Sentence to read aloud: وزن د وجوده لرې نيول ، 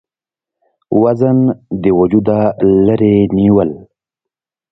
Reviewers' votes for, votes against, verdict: 2, 0, accepted